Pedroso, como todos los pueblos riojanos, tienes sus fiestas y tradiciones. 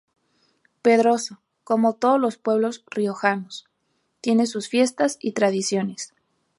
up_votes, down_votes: 2, 0